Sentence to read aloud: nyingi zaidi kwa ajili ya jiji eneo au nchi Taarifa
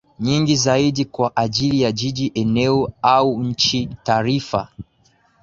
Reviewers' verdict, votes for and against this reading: accepted, 3, 0